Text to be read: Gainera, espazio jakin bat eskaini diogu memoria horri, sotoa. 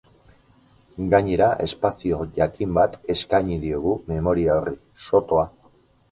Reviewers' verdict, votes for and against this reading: accepted, 4, 0